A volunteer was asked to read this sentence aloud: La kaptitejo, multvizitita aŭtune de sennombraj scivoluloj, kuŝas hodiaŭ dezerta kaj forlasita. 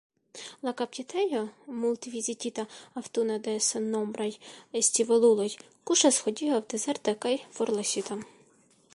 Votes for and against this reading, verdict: 3, 0, accepted